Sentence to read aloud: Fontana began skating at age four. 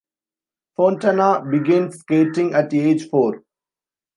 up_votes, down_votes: 1, 2